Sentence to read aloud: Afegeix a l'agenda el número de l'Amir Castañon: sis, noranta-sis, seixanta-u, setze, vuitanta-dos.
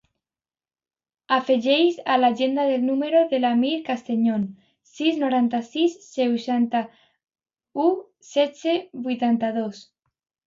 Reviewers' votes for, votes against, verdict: 0, 2, rejected